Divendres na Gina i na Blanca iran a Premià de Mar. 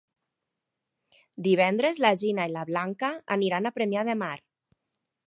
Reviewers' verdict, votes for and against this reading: rejected, 1, 2